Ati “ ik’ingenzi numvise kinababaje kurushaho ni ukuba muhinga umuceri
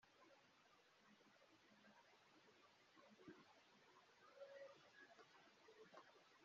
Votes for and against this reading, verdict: 0, 2, rejected